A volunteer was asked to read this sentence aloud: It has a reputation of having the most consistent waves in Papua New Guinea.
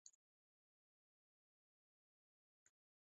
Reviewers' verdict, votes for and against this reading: rejected, 0, 2